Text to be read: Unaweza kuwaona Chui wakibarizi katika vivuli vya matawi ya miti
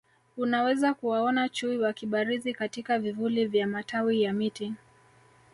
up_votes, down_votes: 1, 2